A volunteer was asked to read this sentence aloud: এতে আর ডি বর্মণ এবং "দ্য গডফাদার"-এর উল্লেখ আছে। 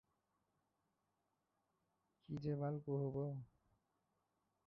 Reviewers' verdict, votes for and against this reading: rejected, 0, 3